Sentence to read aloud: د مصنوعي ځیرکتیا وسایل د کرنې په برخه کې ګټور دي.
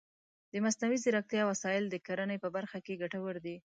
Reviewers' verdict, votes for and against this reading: accepted, 2, 0